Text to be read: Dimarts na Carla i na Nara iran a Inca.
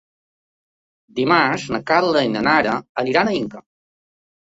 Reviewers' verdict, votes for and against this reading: rejected, 0, 2